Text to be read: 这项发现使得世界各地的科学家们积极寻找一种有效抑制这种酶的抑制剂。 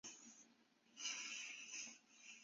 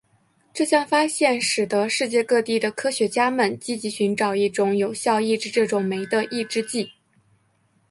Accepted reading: second